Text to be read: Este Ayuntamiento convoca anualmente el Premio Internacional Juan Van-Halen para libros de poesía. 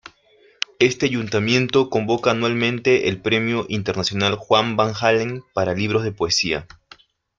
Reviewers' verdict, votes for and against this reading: accepted, 2, 0